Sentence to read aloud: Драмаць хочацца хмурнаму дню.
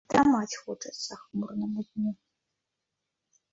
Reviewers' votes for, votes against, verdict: 1, 2, rejected